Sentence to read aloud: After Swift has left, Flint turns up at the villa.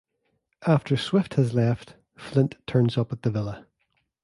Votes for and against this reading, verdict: 2, 0, accepted